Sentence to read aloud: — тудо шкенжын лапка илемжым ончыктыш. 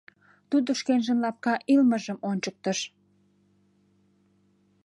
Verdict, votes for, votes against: rejected, 0, 2